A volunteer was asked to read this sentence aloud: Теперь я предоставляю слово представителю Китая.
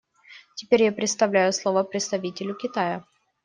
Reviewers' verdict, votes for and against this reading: rejected, 0, 2